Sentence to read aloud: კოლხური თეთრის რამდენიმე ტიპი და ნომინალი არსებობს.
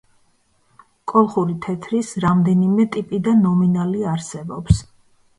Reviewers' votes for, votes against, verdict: 2, 0, accepted